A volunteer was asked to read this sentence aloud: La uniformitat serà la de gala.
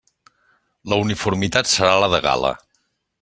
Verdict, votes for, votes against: accepted, 2, 0